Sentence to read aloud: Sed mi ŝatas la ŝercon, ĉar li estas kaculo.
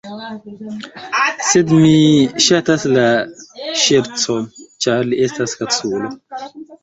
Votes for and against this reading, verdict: 1, 2, rejected